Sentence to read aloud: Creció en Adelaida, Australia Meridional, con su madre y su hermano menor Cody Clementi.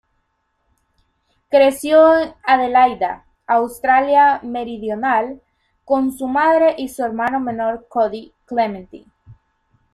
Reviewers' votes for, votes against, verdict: 0, 2, rejected